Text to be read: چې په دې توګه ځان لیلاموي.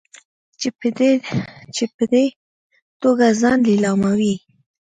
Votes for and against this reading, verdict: 0, 2, rejected